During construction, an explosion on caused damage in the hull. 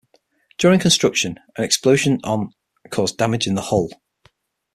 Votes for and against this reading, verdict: 6, 3, accepted